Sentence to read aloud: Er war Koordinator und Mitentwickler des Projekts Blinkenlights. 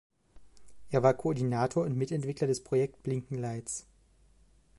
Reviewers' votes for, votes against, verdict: 2, 1, accepted